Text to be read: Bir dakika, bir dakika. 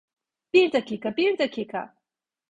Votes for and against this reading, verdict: 2, 0, accepted